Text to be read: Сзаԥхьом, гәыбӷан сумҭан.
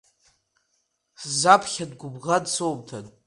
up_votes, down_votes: 1, 2